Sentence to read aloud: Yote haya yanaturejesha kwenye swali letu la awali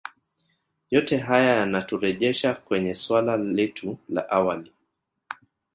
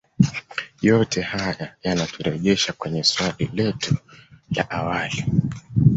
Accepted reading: second